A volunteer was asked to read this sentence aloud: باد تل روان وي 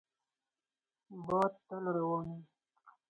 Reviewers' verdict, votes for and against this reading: rejected, 0, 4